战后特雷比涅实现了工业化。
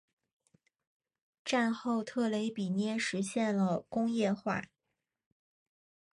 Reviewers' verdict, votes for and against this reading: accepted, 5, 1